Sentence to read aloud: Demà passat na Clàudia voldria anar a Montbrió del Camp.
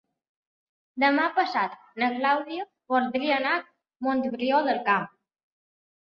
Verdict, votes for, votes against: accepted, 3, 0